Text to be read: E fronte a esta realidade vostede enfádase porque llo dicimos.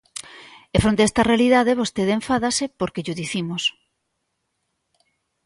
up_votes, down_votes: 2, 0